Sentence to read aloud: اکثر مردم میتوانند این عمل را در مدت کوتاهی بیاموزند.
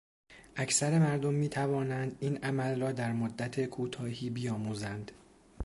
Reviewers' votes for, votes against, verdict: 2, 0, accepted